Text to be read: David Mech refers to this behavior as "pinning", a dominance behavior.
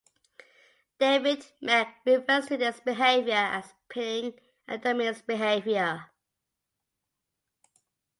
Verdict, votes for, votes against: accepted, 2, 0